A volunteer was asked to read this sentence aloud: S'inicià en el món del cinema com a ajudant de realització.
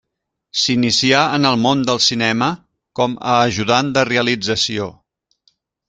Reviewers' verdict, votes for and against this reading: accepted, 3, 0